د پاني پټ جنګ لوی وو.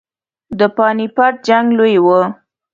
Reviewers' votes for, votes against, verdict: 2, 0, accepted